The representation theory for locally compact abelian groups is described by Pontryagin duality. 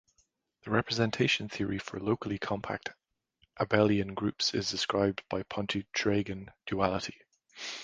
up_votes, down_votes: 1, 2